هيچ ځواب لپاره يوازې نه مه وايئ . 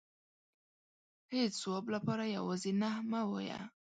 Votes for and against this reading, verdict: 2, 0, accepted